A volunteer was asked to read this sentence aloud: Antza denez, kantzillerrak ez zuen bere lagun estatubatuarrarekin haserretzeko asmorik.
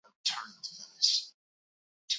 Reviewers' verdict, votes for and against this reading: accepted, 2, 0